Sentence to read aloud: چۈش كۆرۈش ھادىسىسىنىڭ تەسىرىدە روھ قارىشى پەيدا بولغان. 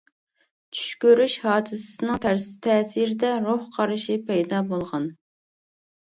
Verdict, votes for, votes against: rejected, 0, 2